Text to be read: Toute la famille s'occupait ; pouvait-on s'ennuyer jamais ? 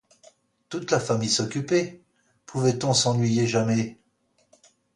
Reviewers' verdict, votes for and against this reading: accepted, 2, 0